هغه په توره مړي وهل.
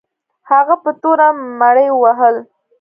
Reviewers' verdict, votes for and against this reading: accepted, 2, 0